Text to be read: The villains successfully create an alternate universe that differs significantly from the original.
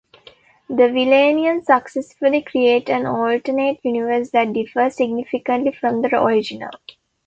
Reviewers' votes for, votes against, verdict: 0, 2, rejected